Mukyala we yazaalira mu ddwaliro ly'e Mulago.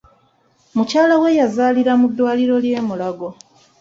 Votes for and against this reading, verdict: 1, 2, rejected